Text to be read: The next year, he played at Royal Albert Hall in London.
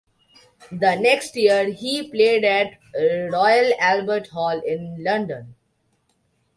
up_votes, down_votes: 2, 0